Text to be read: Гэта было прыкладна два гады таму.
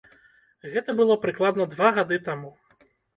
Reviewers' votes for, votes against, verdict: 2, 3, rejected